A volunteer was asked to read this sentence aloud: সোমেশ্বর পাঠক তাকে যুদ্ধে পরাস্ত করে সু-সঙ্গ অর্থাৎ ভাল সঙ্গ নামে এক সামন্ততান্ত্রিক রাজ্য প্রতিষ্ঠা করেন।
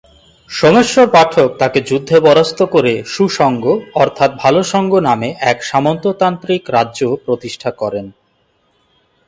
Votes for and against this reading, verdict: 0, 2, rejected